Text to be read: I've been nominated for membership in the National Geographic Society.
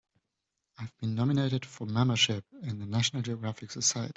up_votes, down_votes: 2, 1